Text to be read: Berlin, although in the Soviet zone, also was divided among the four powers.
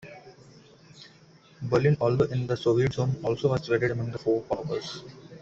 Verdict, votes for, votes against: rejected, 0, 2